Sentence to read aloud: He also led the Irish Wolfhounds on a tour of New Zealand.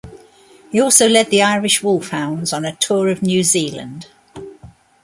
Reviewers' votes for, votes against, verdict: 2, 0, accepted